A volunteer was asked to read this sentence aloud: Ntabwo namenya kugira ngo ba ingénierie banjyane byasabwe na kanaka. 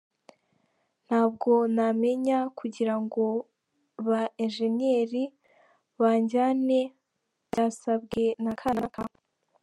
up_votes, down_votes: 3, 1